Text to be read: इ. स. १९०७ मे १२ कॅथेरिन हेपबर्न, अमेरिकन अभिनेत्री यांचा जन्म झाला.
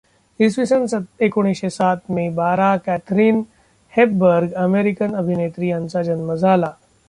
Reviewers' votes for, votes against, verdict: 0, 2, rejected